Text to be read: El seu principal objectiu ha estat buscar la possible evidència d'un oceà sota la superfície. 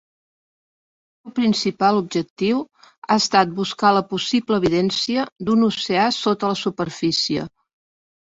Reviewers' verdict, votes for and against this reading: rejected, 0, 2